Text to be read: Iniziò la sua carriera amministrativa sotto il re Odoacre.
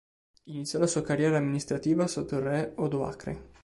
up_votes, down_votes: 4, 0